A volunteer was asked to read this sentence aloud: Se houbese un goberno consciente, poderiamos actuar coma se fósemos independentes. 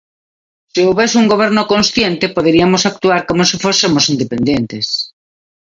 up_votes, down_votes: 1, 2